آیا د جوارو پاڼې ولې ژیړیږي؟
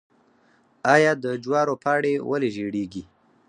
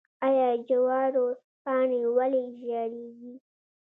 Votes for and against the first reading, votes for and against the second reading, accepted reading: 2, 4, 2, 0, second